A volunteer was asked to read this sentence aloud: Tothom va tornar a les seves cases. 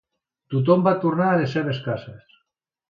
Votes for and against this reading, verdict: 2, 0, accepted